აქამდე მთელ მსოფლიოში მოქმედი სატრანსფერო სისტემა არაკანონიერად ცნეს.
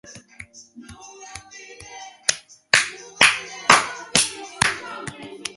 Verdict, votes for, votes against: rejected, 0, 2